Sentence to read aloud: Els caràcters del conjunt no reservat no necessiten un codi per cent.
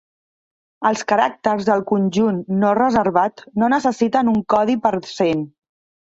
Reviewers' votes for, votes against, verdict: 1, 2, rejected